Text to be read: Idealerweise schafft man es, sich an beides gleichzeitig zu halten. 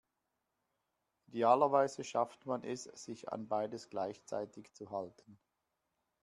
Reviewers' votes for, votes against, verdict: 1, 3, rejected